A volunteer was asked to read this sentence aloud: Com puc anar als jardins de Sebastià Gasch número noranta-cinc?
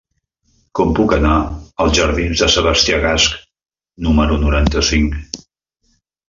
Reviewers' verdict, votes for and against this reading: accepted, 3, 0